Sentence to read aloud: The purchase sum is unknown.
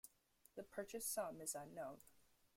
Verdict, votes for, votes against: rejected, 0, 2